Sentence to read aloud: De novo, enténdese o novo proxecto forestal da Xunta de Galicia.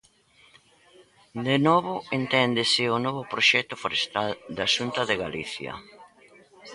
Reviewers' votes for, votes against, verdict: 2, 0, accepted